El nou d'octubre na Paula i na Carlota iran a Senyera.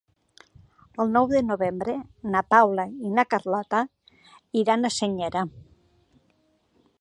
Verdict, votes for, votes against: rejected, 1, 2